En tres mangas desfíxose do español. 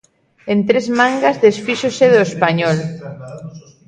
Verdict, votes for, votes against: rejected, 0, 2